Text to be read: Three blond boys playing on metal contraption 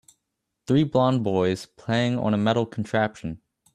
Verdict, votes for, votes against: rejected, 0, 2